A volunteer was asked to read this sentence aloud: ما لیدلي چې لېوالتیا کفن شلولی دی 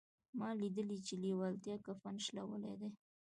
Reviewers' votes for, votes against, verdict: 2, 0, accepted